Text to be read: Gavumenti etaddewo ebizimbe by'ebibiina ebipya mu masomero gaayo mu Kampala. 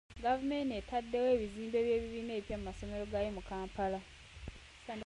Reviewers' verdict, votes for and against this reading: rejected, 0, 2